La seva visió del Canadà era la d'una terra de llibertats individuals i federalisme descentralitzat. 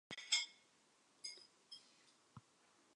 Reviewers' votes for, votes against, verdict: 0, 2, rejected